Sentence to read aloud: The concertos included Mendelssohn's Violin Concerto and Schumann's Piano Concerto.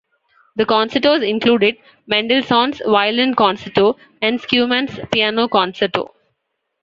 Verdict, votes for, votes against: accepted, 2, 0